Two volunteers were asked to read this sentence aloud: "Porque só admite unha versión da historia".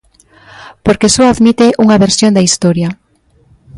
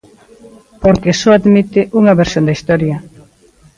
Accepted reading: first